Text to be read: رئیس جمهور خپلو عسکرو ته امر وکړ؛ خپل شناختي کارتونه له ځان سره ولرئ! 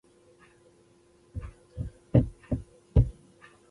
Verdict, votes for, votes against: rejected, 1, 2